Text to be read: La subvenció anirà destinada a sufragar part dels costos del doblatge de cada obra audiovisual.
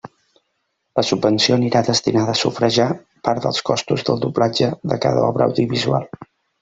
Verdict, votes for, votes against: rejected, 0, 2